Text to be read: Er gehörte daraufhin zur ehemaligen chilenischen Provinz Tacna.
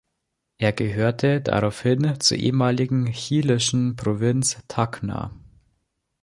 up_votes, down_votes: 0, 2